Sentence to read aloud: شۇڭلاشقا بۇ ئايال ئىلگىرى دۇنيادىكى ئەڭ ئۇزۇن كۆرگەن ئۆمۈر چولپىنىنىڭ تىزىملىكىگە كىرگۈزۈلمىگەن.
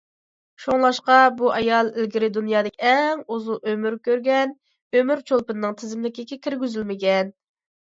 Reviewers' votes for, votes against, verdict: 2, 0, accepted